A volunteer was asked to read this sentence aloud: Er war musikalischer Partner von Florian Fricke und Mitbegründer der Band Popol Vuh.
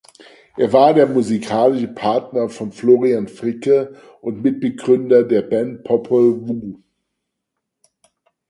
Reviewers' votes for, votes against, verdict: 0, 4, rejected